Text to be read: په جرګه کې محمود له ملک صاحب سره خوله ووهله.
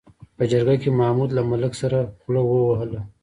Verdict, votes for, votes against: rejected, 1, 2